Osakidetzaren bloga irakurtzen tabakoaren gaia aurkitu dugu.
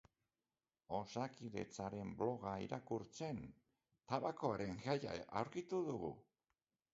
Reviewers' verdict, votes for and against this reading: accepted, 2, 1